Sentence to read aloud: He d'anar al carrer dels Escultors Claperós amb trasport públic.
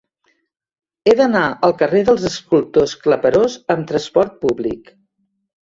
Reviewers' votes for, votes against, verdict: 2, 0, accepted